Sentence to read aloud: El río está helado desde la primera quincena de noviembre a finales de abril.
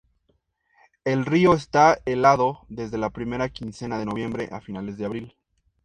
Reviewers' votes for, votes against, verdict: 2, 0, accepted